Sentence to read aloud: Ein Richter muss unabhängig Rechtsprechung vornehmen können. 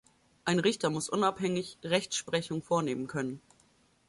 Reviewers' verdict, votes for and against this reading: accepted, 2, 0